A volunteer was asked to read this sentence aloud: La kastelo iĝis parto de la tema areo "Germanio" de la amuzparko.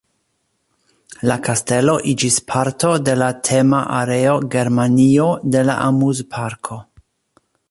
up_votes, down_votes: 2, 0